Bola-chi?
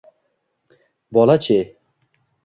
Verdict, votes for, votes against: accepted, 2, 0